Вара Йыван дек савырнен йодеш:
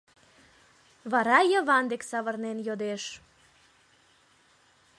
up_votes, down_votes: 2, 0